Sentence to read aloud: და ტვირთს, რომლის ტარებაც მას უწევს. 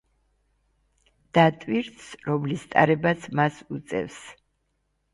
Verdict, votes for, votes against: accepted, 2, 0